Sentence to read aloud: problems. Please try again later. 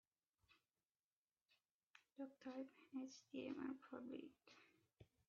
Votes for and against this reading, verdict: 0, 3, rejected